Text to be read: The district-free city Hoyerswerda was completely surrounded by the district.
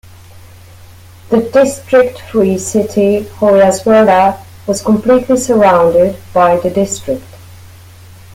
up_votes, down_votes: 2, 1